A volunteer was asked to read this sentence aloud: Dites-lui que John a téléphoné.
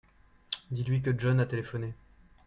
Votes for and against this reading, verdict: 2, 0, accepted